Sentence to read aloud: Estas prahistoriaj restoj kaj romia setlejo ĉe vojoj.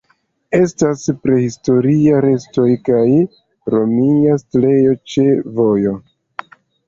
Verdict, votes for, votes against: rejected, 1, 2